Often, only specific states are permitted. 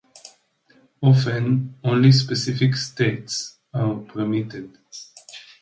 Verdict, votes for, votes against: accepted, 3, 0